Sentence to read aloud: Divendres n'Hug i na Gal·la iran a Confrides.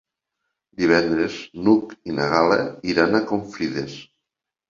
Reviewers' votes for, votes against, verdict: 3, 0, accepted